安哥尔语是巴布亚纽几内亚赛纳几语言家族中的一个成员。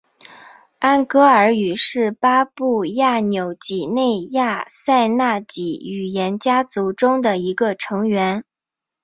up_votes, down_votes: 4, 0